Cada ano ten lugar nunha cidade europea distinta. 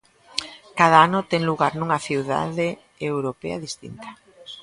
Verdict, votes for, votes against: rejected, 1, 2